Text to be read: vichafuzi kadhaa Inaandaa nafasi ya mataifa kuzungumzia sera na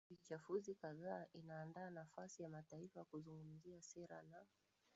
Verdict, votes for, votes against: rejected, 1, 2